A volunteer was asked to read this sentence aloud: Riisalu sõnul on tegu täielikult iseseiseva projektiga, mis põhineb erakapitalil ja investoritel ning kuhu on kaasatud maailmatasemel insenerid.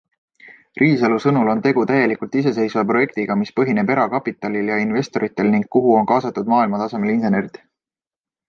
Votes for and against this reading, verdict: 2, 0, accepted